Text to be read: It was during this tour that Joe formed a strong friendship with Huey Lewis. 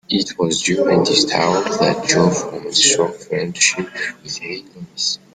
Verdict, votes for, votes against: rejected, 1, 2